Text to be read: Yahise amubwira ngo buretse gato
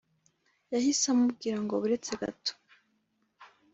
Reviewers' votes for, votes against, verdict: 3, 0, accepted